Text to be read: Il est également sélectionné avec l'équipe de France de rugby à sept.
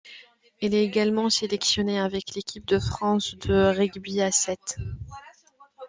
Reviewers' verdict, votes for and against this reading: accepted, 2, 0